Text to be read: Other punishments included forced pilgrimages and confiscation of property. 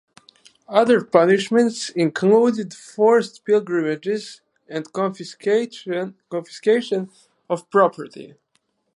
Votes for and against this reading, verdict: 0, 4, rejected